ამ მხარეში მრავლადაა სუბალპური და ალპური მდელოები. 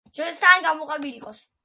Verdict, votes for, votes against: rejected, 1, 2